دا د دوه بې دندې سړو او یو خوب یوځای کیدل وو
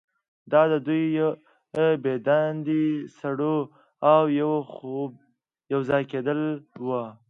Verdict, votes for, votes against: accepted, 2, 0